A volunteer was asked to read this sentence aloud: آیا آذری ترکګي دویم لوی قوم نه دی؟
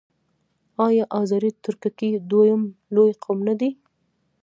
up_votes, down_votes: 0, 2